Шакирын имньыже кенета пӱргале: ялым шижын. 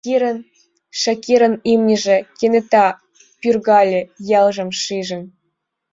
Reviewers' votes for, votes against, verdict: 0, 2, rejected